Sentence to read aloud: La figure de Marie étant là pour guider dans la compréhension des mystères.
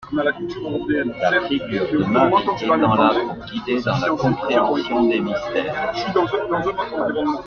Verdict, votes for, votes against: rejected, 1, 2